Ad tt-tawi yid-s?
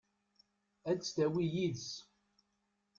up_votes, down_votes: 2, 0